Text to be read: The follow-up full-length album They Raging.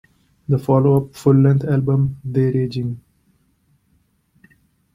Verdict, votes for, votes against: rejected, 0, 2